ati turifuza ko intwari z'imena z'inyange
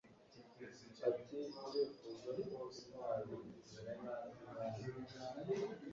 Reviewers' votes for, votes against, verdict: 1, 2, rejected